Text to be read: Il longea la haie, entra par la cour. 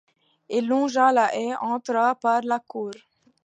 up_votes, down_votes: 2, 0